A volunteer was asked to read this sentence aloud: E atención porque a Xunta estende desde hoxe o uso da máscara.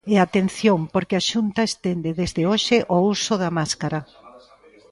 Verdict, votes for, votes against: accepted, 2, 1